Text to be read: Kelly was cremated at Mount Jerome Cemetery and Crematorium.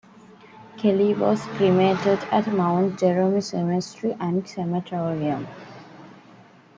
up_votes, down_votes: 0, 2